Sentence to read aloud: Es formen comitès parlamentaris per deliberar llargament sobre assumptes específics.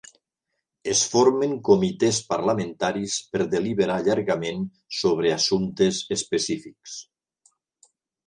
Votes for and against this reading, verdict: 1, 2, rejected